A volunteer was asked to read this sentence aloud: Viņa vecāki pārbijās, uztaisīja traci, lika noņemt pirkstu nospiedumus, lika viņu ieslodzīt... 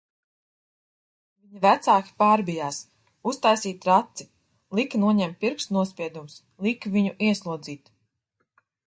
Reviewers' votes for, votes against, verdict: 0, 2, rejected